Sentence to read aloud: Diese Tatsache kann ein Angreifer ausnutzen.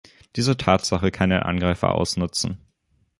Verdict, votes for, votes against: rejected, 3, 3